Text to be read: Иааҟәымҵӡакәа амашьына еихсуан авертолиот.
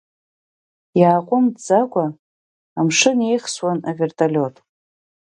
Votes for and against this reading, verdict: 2, 3, rejected